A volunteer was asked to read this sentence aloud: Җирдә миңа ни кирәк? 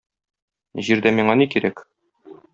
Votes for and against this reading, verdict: 2, 0, accepted